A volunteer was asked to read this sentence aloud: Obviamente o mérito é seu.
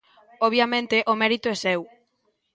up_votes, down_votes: 2, 0